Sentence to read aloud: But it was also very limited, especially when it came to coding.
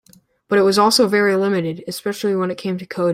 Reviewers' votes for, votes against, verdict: 0, 2, rejected